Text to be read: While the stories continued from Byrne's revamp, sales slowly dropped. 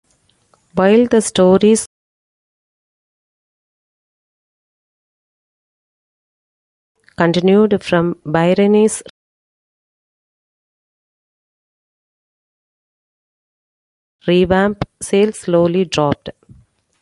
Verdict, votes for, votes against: rejected, 0, 2